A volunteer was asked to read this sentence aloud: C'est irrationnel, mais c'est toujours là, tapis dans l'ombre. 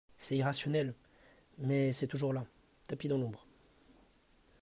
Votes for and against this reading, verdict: 2, 0, accepted